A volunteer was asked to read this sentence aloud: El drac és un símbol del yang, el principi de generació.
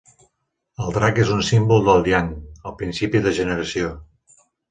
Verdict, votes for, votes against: accepted, 2, 0